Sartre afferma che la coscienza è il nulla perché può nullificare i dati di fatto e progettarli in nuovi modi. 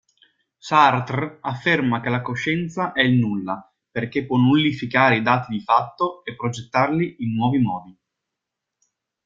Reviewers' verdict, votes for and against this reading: accepted, 2, 0